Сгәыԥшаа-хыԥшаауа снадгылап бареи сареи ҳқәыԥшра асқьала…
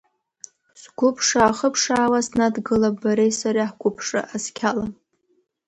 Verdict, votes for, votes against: rejected, 1, 2